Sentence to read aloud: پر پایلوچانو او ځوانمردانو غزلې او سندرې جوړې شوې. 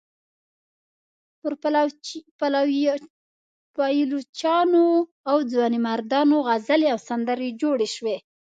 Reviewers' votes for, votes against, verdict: 1, 2, rejected